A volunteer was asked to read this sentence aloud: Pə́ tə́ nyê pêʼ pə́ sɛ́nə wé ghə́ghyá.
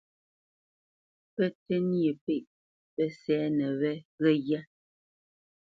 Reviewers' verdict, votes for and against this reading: accepted, 2, 0